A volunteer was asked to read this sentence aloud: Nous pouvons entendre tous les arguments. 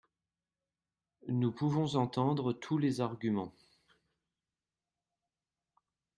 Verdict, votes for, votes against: accepted, 2, 0